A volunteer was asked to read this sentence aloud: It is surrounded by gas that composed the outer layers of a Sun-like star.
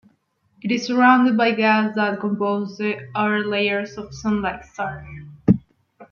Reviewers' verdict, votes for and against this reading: rejected, 1, 2